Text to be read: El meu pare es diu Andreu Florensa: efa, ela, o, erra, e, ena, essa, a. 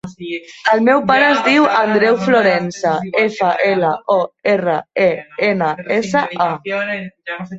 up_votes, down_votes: 0, 2